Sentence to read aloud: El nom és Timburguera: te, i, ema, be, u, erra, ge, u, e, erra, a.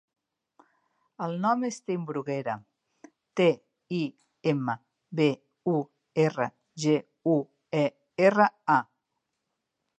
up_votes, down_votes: 0, 2